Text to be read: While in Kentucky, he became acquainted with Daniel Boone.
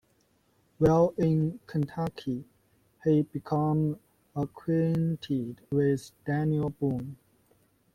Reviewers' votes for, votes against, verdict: 0, 2, rejected